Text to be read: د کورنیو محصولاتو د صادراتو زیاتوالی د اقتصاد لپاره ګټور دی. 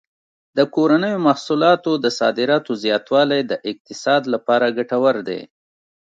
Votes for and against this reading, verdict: 2, 0, accepted